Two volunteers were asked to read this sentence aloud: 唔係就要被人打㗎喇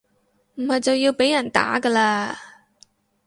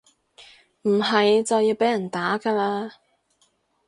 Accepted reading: second